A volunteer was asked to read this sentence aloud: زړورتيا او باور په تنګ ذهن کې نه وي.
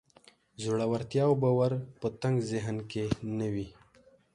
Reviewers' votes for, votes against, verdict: 2, 0, accepted